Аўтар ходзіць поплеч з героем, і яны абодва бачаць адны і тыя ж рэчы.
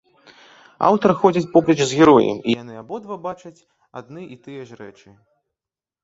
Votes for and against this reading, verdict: 2, 1, accepted